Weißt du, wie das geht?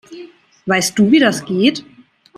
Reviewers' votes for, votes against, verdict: 2, 0, accepted